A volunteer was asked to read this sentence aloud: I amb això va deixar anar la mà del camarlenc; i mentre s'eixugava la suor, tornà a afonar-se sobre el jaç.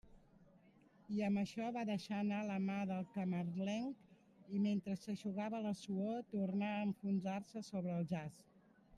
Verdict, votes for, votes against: rejected, 0, 2